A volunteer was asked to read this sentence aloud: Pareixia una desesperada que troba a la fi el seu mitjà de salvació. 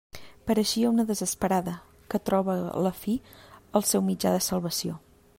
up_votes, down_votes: 2, 0